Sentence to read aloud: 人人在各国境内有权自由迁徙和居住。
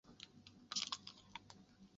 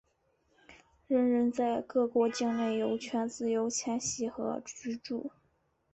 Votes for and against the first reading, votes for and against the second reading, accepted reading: 0, 3, 4, 0, second